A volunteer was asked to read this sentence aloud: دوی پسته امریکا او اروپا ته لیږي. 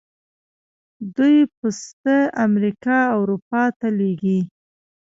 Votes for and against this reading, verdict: 1, 2, rejected